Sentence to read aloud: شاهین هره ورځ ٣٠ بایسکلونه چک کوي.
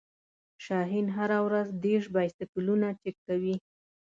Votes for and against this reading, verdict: 0, 2, rejected